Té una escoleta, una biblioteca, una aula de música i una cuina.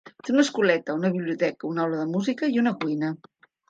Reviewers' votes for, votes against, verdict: 2, 0, accepted